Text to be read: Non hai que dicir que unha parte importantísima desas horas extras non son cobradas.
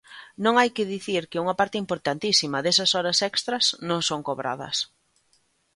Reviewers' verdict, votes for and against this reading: accepted, 5, 0